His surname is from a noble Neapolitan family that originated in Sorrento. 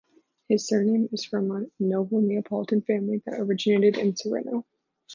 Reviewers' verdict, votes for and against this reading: rejected, 1, 2